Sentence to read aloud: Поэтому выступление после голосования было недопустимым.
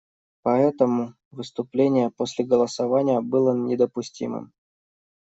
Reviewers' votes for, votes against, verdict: 2, 0, accepted